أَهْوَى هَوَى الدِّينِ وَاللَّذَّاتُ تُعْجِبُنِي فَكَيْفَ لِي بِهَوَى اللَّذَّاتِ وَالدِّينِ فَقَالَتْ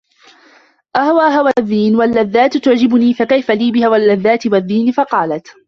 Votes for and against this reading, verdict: 2, 1, accepted